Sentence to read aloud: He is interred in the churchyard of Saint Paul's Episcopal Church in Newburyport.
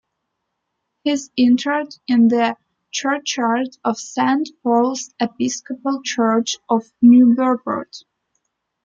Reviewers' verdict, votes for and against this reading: rejected, 1, 2